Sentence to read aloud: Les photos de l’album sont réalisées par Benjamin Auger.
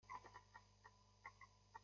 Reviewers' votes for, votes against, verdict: 0, 2, rejected